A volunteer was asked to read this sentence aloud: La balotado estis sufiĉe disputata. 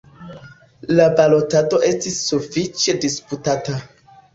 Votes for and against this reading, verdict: 2, 0, accepted